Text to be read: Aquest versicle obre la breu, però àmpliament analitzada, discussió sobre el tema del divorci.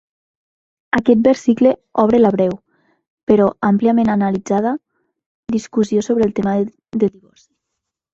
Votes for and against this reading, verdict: 0, 2, rejected